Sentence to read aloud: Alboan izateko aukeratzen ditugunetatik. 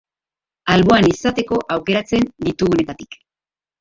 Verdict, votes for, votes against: accepted, 2, 1